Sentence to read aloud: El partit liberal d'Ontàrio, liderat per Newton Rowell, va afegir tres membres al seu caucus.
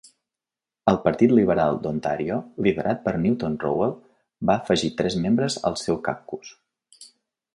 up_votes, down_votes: 2, 1